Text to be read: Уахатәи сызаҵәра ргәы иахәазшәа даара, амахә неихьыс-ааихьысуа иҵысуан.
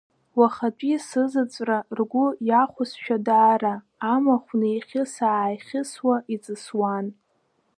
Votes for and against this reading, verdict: 0, 2, rejected